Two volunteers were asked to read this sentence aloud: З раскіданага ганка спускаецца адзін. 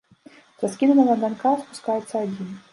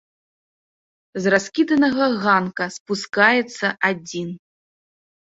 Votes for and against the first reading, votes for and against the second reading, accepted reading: 0, 2, 2, 0, second